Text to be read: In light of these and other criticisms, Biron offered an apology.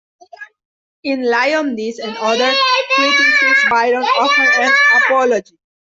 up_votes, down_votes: 0, 2